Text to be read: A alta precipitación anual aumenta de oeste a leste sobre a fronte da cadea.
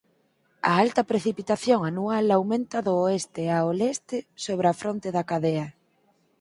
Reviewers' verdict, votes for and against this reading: rejected, 0, 4